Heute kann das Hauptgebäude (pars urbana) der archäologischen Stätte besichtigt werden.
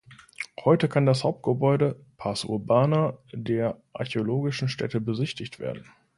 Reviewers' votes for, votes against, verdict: 2, 0, accepted